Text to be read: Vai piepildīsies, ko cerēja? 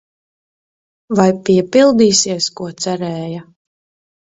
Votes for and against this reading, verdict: 2, 0, accepted